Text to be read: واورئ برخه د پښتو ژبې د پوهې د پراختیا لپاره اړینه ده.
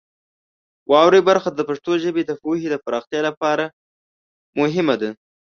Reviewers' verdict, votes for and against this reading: rejected, 1, 2